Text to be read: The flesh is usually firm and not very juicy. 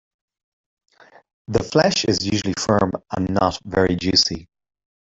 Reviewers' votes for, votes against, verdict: 0, 2, rejected